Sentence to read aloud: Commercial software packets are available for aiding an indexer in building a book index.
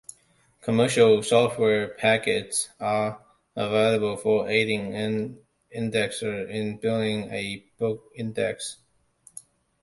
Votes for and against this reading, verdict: 2, 0, accepted